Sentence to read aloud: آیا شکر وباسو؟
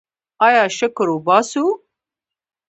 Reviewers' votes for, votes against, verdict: 2, 1, accepted